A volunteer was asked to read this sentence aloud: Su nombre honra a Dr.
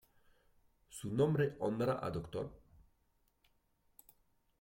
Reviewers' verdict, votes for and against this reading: rejected, 1, 2